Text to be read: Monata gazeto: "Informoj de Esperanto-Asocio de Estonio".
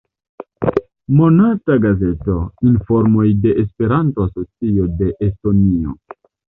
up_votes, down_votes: 2, 0